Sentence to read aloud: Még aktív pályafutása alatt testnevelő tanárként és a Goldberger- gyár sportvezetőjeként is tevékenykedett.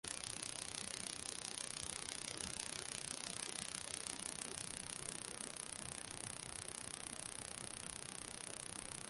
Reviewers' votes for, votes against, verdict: 0, 2, rejected